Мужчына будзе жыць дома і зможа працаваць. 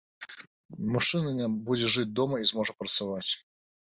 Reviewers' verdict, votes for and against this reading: rejected, 1, 2